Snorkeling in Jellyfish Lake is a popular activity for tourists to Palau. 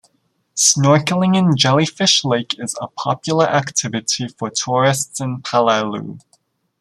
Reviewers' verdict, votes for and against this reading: rejected, 0, 2